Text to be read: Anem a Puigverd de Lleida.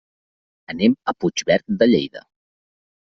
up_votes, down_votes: 3, 0